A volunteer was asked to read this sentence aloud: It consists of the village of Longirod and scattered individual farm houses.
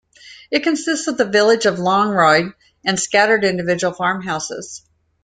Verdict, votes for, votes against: rejected, 1, 2